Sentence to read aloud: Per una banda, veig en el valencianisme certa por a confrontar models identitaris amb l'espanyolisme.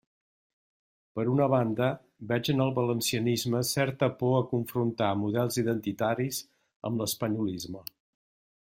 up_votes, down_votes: 2, 0